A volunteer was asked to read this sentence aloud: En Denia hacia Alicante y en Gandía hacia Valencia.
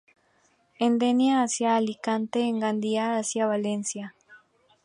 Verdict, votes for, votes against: accepted, 2, 0